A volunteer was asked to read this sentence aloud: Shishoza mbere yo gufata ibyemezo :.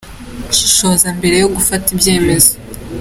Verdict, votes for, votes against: accepted, 3, 1